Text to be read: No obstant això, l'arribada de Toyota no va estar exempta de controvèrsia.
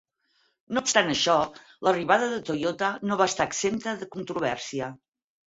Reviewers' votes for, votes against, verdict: 6, 2, accepted